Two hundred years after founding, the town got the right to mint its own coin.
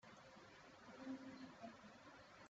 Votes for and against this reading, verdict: 0, 2, rejected